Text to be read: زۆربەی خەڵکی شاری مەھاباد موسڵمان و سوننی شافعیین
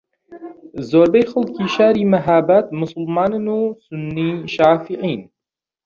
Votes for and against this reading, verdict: 0, 2, rejected